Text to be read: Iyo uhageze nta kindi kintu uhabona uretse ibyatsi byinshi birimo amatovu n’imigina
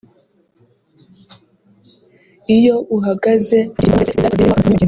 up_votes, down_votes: 0, 2